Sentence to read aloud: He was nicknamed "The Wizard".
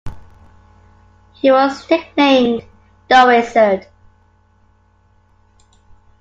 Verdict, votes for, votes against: accepted, 2, 1